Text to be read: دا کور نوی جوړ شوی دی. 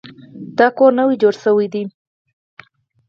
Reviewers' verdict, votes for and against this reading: accepted, 4, 0